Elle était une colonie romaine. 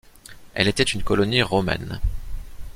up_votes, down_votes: 2, 0